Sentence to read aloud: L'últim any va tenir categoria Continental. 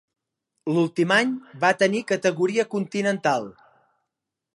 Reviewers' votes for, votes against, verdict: 3, 0, accepted